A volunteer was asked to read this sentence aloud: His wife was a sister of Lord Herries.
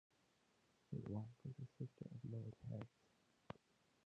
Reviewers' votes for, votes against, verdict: 0, 2, rejected